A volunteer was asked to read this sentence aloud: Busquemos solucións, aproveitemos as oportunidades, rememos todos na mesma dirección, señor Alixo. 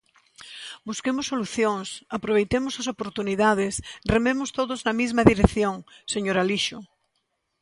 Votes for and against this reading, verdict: 1, 2, rejected